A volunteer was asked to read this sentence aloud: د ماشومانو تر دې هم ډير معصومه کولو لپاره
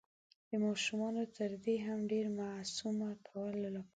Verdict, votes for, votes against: accepted, 2, 1